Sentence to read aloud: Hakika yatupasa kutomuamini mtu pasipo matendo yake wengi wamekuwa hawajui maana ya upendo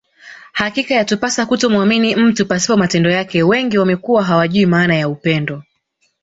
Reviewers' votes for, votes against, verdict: 2, 1, accepted